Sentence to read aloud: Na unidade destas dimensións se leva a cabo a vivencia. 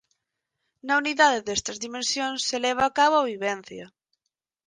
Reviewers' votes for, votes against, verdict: 2, 4, rejected